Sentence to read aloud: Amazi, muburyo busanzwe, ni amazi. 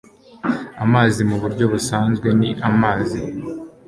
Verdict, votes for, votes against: accepted, 3, 0